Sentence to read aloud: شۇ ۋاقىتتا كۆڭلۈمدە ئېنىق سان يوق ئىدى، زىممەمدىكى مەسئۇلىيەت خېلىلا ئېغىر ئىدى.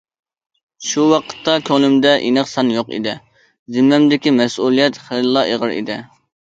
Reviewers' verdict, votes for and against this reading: accepted, 2, 0